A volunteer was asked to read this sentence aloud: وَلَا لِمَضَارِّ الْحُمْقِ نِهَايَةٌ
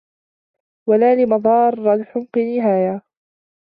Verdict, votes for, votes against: rejected, 0, 2